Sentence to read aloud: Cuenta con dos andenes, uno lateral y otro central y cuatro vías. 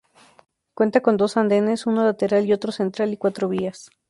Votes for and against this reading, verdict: 4, 0, accepted